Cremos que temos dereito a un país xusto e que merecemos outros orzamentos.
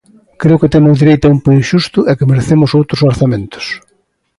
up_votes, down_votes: 1, 2